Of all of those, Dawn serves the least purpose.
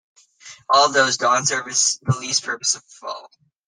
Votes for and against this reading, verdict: 0, 2, rejected